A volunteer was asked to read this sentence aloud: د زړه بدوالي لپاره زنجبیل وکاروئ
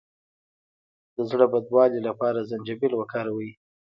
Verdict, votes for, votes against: rejected, 0, 2